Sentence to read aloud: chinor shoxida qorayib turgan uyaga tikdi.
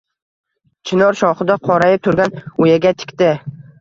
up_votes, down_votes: 1, 2